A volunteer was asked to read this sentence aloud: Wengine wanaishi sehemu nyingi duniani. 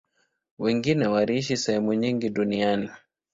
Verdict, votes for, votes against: accepted, 2, 0